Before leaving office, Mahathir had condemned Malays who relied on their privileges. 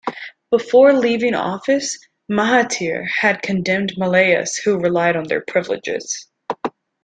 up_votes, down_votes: 1, 2